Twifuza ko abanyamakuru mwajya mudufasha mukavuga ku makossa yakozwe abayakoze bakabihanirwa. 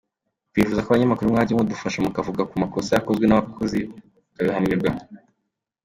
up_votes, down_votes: 0, 2